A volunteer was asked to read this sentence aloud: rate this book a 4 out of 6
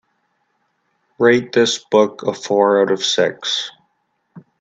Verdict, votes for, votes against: rejected, 0, 2